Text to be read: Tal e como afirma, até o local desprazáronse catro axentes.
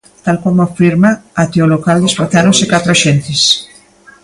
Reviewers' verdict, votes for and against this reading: rejected, 1, 2